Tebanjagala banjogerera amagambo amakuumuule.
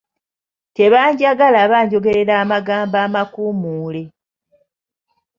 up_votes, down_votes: 2, 0